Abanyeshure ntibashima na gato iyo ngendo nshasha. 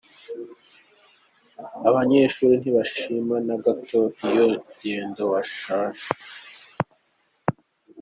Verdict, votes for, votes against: rejected, 0, 2